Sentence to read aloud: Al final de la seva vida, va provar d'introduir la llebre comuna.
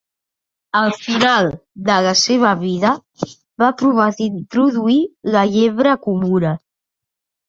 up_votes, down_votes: 2, 1